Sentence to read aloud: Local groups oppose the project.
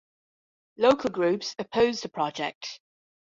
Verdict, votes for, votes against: accepted, 2, 1